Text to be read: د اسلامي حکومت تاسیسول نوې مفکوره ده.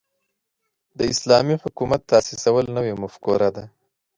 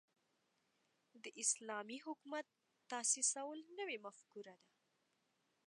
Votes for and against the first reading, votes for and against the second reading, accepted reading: 2, 0, 1, 2, first